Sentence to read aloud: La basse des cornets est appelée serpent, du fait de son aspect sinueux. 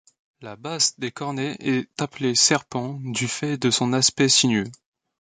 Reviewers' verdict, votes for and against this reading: accepted, 2, 0